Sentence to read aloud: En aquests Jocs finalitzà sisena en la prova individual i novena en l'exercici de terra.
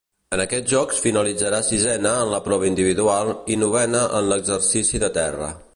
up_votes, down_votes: 0, 2